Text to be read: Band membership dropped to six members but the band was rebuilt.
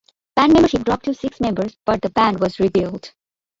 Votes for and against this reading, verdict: 2, 1, accepted